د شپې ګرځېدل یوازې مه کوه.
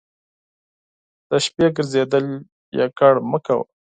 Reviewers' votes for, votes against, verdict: 4, 0, accepted